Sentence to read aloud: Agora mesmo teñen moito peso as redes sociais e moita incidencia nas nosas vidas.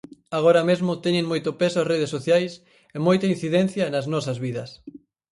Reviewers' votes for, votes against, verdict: 4, 0, accepted